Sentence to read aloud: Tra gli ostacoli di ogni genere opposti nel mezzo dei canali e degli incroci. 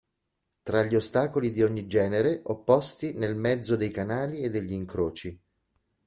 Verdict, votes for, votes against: accepted, 2, 0